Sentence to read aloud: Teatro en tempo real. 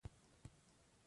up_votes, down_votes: 0, 2